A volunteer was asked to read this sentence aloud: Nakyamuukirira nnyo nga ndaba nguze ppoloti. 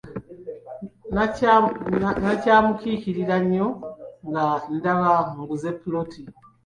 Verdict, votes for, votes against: rejected, 0, 2